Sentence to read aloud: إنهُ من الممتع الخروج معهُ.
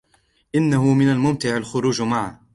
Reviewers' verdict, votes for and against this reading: rejected, 0, 2